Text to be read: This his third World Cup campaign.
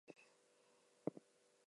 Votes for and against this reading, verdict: 0, 4, rejected